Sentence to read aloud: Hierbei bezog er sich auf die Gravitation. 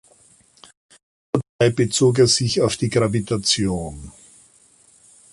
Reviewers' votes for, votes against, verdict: 0, 2, rejected